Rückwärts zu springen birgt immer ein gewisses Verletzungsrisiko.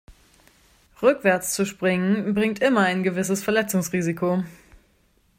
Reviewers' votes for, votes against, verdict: 0, 2, rejected